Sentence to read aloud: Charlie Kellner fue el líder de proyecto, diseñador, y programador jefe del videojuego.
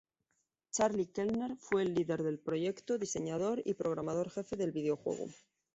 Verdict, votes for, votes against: accepted, 2, 0